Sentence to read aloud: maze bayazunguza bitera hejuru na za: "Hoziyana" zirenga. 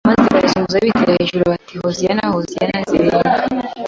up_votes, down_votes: 1, 2